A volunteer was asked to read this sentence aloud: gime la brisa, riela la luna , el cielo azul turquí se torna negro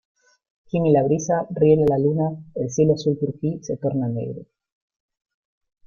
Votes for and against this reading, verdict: 1, 2, rejected